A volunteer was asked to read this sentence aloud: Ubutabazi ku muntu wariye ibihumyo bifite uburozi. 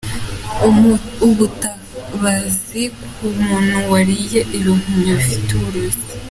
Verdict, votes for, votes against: accepted, 2, 1